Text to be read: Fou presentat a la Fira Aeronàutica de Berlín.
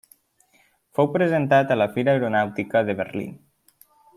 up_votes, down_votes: 3, 0